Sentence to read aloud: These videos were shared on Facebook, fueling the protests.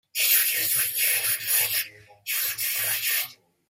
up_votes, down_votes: 0, 2